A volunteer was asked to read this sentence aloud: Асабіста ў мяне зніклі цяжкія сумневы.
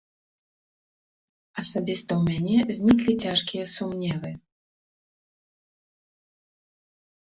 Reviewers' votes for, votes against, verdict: 2, 0, accepted